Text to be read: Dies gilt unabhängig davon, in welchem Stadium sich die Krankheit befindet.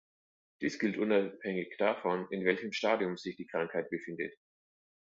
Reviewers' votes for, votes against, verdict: 2, 1, accepted